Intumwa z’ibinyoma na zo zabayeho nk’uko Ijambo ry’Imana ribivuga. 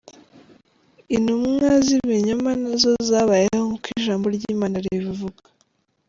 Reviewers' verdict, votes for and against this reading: accepted, 2, 0